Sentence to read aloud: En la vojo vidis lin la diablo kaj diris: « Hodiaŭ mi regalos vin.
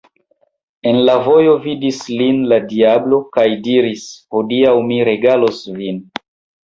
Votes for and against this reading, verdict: 0, 2, rejected